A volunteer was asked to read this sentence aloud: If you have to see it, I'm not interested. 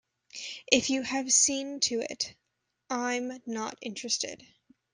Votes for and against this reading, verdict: 1, 2, rejected